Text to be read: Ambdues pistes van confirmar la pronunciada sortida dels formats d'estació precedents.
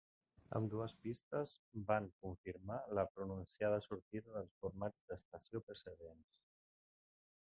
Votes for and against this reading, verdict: 1, 2, rejected